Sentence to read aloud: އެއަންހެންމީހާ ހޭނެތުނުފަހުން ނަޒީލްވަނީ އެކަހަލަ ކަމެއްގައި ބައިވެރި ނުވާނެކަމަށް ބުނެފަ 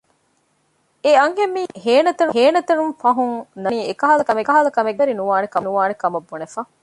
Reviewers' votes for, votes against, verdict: 0, 2, rejected